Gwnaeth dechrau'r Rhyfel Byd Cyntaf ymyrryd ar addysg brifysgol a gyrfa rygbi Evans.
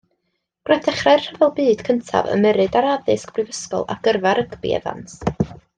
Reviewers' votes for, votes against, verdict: 0, 2, rejected